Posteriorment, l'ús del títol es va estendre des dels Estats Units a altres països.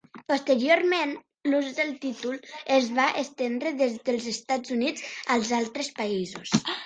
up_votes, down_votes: 1, 3